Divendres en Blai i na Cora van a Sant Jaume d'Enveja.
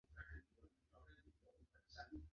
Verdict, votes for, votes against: rejected, 1, 2